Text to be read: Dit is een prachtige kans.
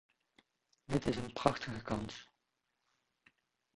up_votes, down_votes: 1, 3